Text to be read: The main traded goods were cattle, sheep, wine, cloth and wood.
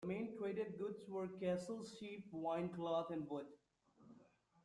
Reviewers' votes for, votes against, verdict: 0, 2, rejected